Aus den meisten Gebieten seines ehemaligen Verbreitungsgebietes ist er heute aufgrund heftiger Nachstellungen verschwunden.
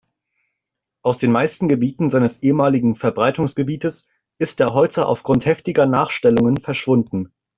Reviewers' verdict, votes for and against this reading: accepted, 2, 0